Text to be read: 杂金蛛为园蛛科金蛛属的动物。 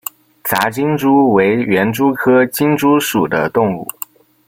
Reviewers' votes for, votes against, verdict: 2, 0, accepted